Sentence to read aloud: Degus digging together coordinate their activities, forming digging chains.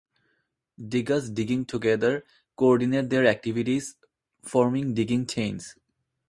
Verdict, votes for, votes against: accepted, 2, 0